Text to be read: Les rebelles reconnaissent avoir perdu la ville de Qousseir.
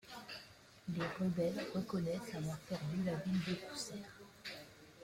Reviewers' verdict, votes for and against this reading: rejected, 0, 2